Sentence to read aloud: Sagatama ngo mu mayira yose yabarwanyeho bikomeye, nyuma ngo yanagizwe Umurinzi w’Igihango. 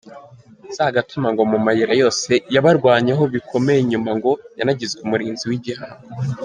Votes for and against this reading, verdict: 0, 2, rejected